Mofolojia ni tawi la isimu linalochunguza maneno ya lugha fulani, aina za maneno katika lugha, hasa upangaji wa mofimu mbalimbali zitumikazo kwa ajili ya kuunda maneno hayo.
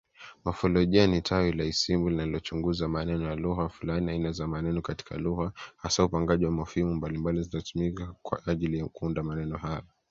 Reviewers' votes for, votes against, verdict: 1, 2, rejected